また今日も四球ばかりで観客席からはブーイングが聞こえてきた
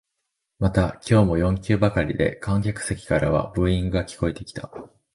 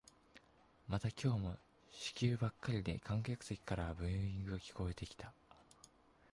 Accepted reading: first